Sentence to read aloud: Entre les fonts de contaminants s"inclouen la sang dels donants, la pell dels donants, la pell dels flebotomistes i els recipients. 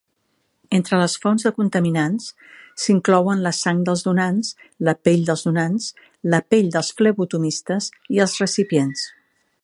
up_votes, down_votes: 2, 1